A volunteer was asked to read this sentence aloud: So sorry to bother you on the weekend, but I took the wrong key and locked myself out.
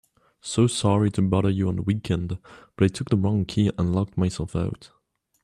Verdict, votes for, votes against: accepted, 2, 1